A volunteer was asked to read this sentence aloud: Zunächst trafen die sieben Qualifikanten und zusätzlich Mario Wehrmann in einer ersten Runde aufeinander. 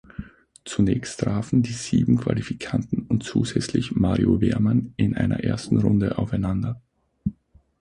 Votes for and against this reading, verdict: 6, 0, accepted